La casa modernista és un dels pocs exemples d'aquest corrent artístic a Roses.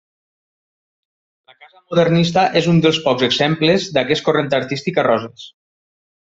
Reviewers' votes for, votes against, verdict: 1, 2, rejected